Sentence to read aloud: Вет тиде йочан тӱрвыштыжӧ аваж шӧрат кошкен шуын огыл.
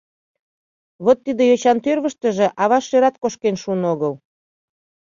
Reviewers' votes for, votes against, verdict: 1, 2, rejected